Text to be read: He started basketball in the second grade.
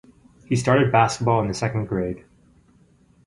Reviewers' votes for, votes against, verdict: 2, 2, rejected